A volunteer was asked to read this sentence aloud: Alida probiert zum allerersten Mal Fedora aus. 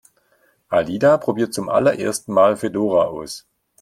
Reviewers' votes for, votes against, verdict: 2, 0, accepted